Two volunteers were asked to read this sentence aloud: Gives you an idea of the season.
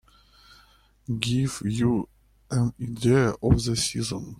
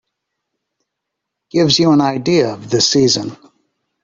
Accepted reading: second